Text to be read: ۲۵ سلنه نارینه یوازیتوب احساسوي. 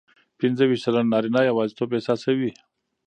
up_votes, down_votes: 0, 2